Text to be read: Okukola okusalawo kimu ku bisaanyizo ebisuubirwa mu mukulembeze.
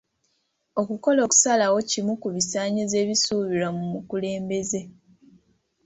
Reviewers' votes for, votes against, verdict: 2, 0, accepted